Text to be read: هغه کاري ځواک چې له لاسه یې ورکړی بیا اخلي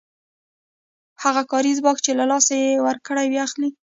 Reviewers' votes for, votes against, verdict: 2, 0, accepted